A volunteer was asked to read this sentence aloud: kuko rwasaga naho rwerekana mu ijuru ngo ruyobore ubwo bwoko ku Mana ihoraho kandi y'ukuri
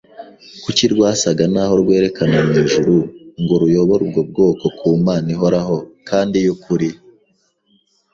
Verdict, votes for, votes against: rejected, 0, 2